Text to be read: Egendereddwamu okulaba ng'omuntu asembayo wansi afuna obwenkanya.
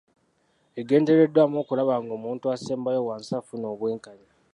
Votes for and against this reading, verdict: 3, 1, accepted